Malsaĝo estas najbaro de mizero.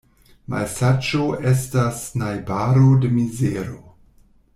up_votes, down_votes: 2, 0